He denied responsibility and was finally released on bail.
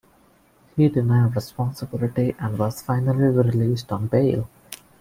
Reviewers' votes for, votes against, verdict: 2, 1, accepted